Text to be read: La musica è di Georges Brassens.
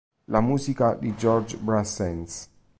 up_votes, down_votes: 2, 3